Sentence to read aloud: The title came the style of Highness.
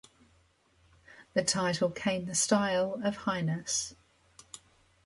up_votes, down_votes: 2, 0